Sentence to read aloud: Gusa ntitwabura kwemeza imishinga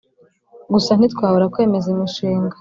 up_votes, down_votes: 2, 0